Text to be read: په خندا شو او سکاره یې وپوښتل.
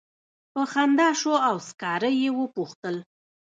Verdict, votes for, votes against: rejected, 1, 2